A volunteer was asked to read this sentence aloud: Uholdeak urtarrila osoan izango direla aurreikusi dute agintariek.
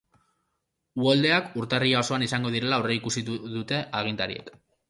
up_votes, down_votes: 0, 2